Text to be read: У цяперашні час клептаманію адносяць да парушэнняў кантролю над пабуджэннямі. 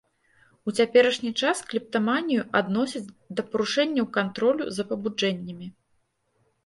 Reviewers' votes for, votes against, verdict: 0, 2, rejected